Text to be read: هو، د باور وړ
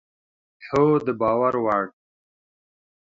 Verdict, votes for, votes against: accepted, 2, 0